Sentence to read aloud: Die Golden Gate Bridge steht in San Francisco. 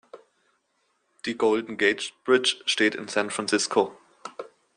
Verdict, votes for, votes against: accepted, 2, 0